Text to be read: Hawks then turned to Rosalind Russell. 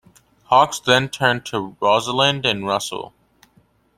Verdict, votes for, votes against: rejected, 0, 2